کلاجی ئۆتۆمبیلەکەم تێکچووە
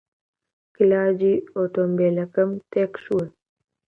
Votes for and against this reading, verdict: 2, 0, accepted